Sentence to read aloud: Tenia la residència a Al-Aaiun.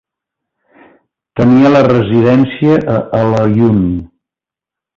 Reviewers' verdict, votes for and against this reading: accepted, 2, 0